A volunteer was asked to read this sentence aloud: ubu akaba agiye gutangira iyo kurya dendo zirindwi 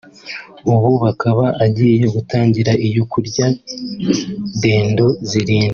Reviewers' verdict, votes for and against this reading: accepted, 2, 0